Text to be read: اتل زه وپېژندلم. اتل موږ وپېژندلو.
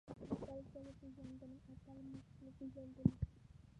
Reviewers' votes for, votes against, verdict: 1, 2, rejected